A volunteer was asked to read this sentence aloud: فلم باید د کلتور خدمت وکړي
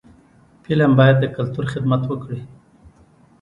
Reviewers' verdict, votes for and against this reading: accepted, 2, 1